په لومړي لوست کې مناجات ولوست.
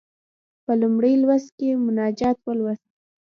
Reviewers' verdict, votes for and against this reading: rejected, 0, 2